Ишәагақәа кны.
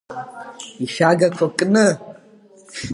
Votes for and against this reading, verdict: 2, 0, accepted